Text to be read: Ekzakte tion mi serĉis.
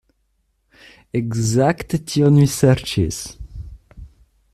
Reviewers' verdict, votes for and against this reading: accepted, 2, 1